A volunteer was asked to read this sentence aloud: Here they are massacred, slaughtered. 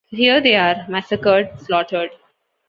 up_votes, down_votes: 2, 0